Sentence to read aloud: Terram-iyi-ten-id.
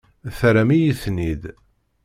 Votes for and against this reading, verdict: 2, 0, accepted